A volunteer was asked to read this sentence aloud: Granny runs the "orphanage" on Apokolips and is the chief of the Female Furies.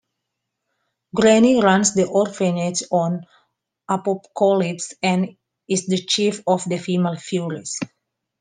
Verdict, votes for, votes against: rejected, 0, 2